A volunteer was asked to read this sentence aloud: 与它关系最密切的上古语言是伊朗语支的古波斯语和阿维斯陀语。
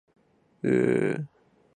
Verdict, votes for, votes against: rejected, 0, 2